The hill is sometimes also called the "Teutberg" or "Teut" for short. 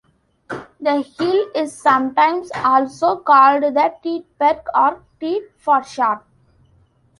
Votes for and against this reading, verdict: 2, 1, accepted